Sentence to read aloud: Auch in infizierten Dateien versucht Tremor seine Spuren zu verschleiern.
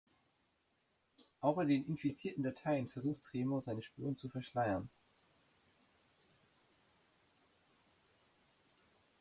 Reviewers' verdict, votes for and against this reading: rejected, 0, 2